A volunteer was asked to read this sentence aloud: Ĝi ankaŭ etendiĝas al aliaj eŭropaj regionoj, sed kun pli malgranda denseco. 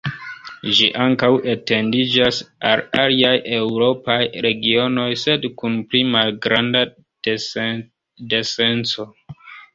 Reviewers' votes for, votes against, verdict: 0, 2, rejected